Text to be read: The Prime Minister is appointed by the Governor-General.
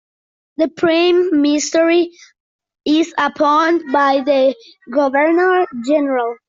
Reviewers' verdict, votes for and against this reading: rejected, 1, 2